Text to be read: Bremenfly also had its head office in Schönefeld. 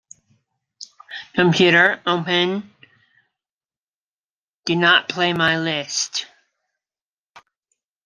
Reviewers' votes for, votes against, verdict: 0, 2, rejected